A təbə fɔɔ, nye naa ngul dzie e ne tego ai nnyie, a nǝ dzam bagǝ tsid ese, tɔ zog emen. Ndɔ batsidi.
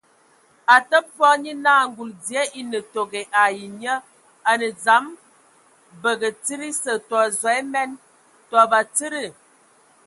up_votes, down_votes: 2, 0